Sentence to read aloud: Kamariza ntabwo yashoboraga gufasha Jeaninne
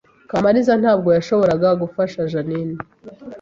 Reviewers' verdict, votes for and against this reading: accepted, 2, 0